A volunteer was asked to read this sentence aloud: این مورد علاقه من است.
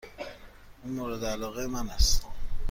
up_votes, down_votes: 2, 0